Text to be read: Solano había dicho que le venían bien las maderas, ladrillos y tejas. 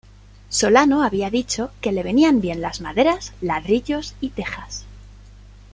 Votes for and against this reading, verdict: 2, 0, accepted